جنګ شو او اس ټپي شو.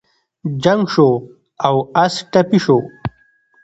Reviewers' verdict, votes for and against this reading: accepted, 2, 1